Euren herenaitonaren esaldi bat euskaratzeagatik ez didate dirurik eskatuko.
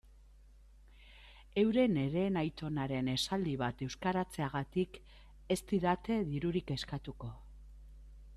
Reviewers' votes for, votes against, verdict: 2, 0, accepted